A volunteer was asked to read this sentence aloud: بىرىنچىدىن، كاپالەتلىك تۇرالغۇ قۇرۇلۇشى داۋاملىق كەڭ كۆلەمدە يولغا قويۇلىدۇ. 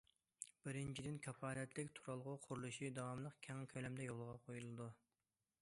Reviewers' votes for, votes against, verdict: 2, 0, accepted